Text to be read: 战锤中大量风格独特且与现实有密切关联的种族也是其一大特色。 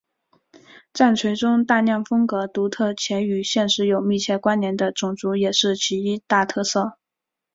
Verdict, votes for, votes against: accepted, 9, 0